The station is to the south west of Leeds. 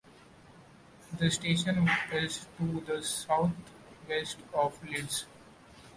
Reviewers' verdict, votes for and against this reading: accepted, 2, 0